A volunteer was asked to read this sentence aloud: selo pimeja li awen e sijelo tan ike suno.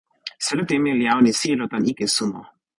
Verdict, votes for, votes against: rejected, 0, 2